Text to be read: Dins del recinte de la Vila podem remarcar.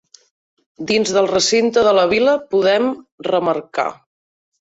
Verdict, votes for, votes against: accepted, 2, 0